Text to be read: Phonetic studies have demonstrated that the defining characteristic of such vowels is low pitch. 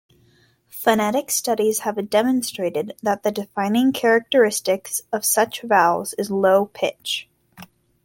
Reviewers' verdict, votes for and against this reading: accepted, 2, 1